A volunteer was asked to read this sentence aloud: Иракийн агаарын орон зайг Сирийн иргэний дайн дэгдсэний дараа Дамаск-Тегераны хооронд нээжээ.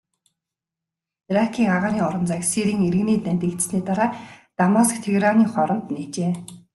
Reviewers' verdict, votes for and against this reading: accepted, 2, 0